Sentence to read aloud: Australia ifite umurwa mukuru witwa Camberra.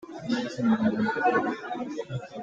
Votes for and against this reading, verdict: 0, 2, rejected